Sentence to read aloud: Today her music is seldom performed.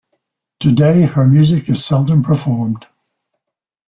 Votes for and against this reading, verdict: 2, 0, accepted